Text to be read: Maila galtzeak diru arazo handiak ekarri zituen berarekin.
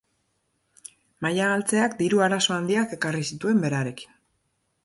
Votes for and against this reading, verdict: 2, 0, accepted